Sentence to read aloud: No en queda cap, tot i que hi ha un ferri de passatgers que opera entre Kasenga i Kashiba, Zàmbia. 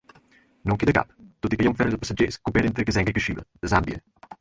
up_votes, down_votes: 0, 4